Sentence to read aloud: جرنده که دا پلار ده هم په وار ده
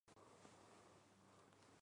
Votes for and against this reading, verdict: 0, 2, rejected